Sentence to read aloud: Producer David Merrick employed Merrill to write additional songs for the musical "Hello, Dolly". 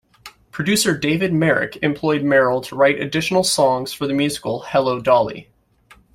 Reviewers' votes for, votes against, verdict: 2, 0, accepted